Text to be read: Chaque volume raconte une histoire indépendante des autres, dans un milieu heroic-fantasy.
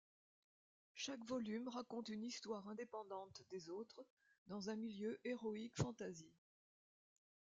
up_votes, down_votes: 0, 2